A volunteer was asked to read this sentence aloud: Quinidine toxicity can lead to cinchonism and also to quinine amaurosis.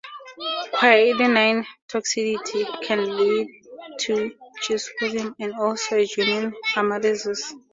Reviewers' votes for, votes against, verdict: 0, 4, rejected